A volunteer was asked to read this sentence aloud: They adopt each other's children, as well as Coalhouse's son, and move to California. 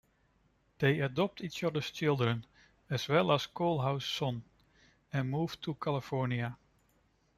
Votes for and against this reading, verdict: 2, 0, accepted